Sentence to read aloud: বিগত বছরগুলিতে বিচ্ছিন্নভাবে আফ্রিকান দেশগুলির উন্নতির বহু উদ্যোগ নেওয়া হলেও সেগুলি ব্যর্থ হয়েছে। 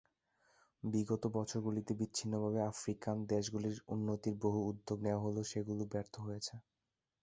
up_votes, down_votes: 1, 2